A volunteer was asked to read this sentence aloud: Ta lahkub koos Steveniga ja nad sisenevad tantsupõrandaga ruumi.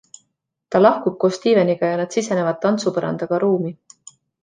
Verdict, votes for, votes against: accepted, 2, 0